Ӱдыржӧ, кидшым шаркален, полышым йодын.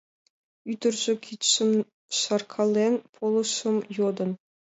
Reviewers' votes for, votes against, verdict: 2, 1, accepted